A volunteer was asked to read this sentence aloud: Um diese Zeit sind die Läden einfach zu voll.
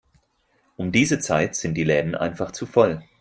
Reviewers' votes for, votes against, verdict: 4, 0, accepted